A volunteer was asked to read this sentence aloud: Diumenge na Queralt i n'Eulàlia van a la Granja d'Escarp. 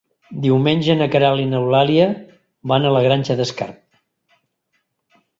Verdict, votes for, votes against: accepted, 3, 0